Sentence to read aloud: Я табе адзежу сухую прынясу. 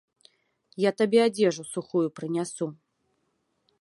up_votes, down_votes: 2, 0